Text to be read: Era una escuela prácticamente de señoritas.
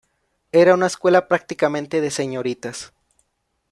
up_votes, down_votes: 2, 0